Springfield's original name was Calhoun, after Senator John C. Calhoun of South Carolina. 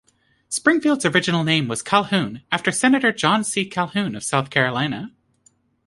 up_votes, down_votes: 2, 0